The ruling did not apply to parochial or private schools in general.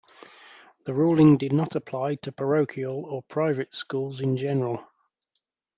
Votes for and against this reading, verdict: 2, 0, accepted